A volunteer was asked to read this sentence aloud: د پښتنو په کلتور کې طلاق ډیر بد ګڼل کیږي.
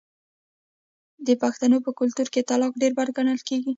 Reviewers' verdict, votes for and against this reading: rejected, 1, 2